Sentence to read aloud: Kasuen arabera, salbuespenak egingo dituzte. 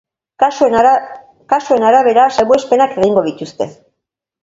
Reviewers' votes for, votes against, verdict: 0, 3, rejected